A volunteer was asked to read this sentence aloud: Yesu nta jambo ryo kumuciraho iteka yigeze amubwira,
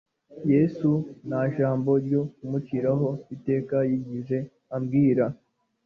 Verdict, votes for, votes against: rejected, 1, 2